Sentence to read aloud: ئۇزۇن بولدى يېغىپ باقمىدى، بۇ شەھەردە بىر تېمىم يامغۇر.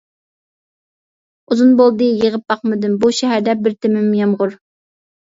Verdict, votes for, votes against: rejected, 1, 2